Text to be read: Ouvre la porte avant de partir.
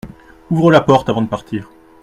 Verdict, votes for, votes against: accepted, 2, 0